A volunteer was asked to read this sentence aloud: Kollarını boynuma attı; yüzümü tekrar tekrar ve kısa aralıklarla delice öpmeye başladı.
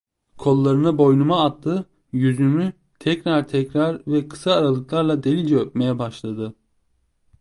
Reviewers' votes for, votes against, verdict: 2, 0, accepted